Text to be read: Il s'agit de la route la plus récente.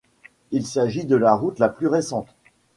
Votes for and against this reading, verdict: 2, 0, accepted